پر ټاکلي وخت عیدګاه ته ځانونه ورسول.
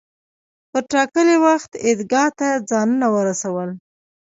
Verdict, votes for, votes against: accepted, 2, 1